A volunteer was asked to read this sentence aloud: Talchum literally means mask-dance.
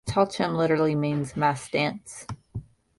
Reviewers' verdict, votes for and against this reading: accepted, 2, 0